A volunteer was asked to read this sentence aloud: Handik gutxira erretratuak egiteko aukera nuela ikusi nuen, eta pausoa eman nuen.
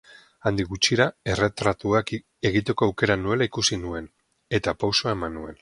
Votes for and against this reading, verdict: 2, 4, rejected